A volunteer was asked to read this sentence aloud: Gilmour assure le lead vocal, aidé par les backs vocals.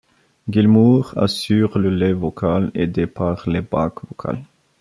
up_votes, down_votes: 0, 2